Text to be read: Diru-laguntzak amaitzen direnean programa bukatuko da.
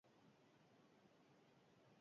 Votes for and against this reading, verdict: 0, 2, rejected